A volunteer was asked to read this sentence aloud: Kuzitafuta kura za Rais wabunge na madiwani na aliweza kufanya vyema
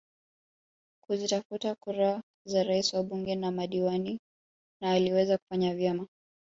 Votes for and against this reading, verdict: 0, 2, rejected